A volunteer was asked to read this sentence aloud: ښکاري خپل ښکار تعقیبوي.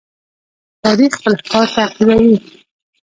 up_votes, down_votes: 1, 2